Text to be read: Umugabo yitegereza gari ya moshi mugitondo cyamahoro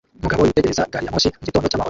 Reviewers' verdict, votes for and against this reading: rejected, 0, 2